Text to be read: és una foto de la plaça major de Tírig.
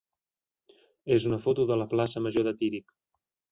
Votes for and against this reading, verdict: 3, 0, accepted